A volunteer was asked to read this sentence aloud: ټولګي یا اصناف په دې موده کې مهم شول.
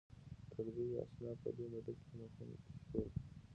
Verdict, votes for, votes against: accepted, 2, 0